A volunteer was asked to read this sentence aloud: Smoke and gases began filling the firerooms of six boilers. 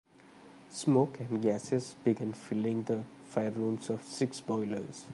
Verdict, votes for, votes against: accepted, 2, 0